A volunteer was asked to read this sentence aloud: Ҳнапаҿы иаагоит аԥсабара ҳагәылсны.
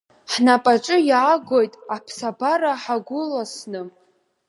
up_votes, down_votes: 1, 2